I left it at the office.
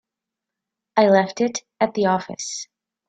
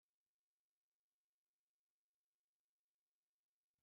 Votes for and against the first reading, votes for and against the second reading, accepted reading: 3, 0, 0, 2, first